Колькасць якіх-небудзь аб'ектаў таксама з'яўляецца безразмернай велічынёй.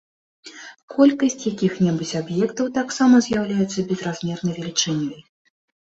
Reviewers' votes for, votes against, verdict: 2, 0, accepted